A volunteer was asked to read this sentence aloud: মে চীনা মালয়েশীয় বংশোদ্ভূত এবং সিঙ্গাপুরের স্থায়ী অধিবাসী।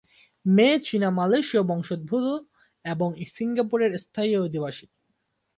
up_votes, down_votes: 2, 0